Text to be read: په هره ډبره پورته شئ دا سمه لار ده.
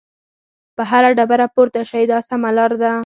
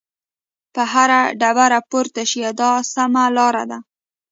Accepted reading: second